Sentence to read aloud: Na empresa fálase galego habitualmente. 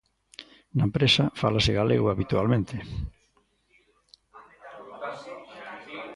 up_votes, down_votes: 1, 2